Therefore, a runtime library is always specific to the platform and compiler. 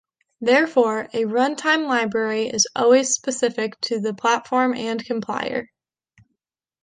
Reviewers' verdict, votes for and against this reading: rejected, 0, 2